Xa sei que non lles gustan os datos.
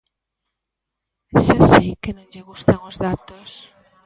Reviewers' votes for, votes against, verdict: 1, 2, rejected